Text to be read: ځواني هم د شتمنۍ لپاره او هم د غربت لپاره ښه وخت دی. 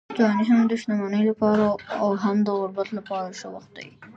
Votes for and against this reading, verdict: 1, 2, rejected